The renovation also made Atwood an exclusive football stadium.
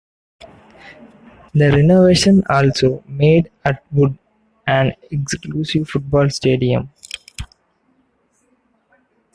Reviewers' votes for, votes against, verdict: 2, 1, accepted